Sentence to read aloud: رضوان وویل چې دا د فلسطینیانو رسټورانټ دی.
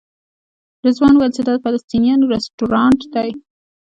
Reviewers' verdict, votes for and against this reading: accepted, 2, 0